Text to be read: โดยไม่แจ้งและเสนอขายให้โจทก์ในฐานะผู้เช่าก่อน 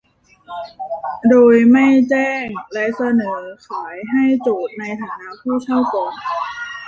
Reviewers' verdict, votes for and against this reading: rejected, 1, 2